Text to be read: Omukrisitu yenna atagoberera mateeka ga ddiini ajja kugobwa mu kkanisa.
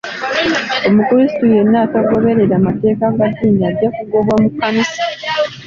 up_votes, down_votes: 2, 0